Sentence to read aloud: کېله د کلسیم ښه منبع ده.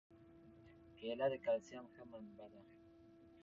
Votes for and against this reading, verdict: 2, 0, accepted